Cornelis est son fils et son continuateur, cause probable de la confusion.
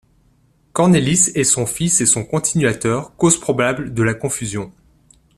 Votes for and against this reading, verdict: 2, 0, accepted